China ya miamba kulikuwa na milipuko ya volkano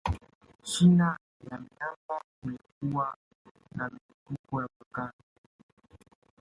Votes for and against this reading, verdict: 0, 2, rejected